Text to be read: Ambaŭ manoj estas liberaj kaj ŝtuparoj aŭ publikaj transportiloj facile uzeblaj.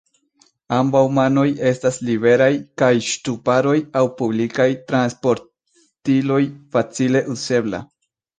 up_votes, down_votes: 1, 2